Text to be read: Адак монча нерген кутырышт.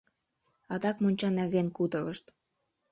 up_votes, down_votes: 0, 2